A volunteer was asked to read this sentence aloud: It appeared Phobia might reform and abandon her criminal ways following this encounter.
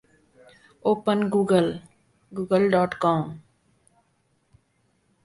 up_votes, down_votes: 0, 2